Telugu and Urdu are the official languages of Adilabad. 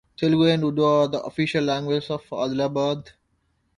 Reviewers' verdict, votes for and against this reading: rejected, 1, 2